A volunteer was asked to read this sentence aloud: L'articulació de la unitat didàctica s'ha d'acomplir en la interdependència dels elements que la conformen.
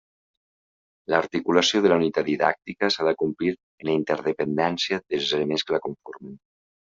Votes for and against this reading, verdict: 2, 0, accepted